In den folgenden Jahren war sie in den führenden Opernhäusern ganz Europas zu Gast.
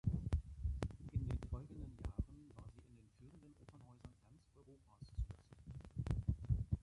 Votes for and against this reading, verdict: 0, 2, rejected